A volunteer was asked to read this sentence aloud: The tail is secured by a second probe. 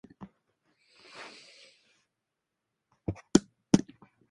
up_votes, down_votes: 0, 4